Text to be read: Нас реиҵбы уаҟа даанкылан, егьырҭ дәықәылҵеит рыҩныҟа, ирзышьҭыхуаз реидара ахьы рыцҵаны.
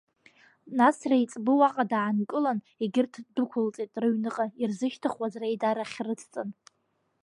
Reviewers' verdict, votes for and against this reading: accepted, 2, 0